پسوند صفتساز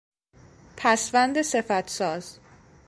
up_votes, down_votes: 2, 0